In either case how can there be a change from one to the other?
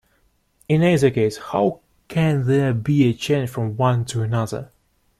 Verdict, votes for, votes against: rejected, 1, 2